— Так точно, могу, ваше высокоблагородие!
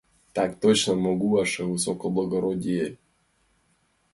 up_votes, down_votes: 2, 1